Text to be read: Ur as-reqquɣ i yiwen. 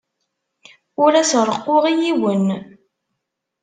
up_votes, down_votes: 2, 0